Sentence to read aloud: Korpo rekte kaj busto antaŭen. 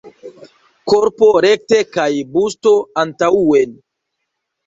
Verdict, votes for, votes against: accepted, 2, 1